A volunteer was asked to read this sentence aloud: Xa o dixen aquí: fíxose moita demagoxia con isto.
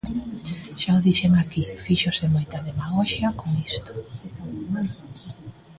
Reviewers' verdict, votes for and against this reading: rejected, 1, 2